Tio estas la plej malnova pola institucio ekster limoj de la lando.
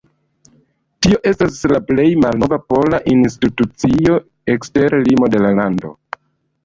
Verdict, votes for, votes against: rejected, 0, 2